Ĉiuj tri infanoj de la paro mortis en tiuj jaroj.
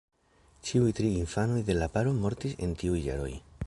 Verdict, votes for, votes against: rejected, 1, 2